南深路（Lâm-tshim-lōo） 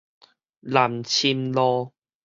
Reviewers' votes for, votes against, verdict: 4, 0, accepted